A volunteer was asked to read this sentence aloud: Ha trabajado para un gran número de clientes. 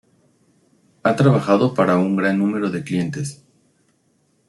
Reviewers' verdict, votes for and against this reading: accepted, 2, 1